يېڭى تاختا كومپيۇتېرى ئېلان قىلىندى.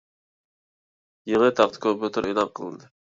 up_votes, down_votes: 0, 2